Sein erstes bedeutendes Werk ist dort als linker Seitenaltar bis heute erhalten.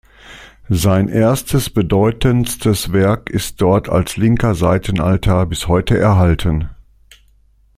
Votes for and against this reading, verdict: 0, 2, rejected